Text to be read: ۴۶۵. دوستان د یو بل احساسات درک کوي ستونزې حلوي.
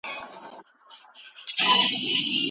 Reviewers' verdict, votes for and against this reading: rejected, 0, 2